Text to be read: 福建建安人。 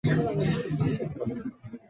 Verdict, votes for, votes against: rejected, 0, 2